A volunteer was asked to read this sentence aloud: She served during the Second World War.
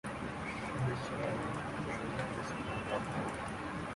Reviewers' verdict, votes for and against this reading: rejected, 0, 2